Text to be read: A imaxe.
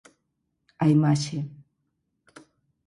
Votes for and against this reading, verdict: 4, 0, accepted